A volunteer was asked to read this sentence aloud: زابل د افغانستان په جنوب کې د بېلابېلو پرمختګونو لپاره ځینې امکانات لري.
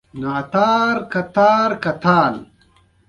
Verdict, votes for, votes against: rejected, 0, 2